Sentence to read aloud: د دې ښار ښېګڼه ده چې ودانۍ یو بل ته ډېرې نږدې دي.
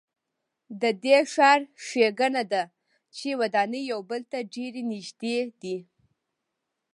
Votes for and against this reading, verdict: 1, 2, rejected